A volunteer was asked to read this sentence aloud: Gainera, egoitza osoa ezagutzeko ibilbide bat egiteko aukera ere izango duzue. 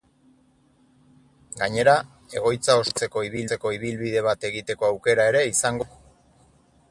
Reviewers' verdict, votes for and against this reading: rejected, 0, 4